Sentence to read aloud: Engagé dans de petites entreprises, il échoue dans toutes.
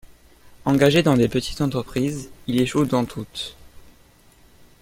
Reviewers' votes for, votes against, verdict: 1, 2, rejected